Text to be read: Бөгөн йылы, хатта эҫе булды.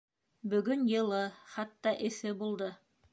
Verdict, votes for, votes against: accepted, 2, 0